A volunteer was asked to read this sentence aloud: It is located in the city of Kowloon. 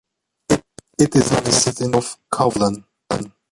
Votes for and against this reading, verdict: 1, 2, rejected